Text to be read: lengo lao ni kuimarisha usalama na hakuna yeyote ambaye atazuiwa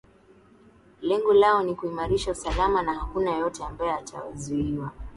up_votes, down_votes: 0, 2